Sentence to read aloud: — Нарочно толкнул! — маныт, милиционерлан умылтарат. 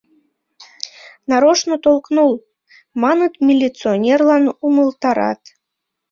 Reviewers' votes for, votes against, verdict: 2, 0, accepted